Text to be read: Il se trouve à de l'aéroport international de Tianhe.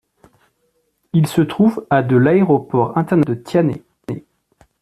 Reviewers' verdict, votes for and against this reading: rejected, 0, 2